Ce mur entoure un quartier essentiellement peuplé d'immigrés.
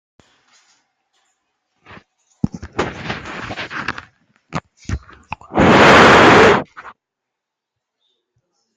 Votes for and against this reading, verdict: 0, 2, rejected